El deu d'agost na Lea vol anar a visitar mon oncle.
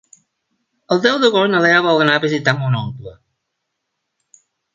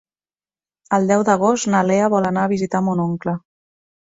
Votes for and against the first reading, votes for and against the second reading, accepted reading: 0, 2, 3, 0, second